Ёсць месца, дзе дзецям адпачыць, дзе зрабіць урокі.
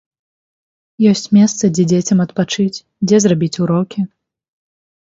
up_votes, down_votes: 2, 0